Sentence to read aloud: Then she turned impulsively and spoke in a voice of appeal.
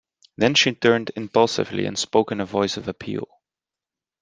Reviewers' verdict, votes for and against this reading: rejected, 1, 2